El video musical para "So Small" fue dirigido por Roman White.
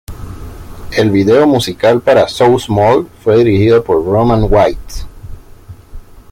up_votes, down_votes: 0, 2